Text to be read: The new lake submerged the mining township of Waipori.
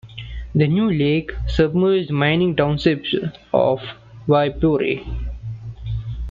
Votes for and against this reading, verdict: 1, 2, rejected